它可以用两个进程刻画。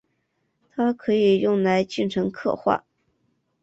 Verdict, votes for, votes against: rejected, 1, 2